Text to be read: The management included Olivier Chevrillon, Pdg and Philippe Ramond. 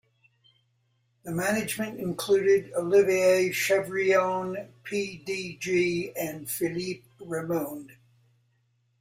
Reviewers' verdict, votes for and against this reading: rejected, 1, 2